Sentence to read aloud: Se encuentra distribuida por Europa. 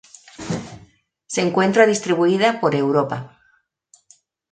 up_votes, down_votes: 2, 0